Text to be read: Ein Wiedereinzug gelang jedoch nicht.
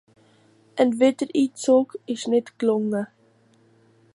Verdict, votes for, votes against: rejected, 0, 2